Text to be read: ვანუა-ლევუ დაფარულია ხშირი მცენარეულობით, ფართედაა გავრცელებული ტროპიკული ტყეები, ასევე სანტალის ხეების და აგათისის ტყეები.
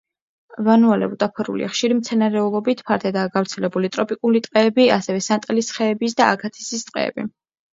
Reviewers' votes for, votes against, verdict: 2, 0, accepted